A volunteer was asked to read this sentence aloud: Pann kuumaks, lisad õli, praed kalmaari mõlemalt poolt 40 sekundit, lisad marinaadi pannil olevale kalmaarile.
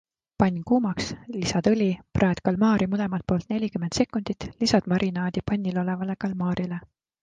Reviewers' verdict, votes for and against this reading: rejected, 0, 2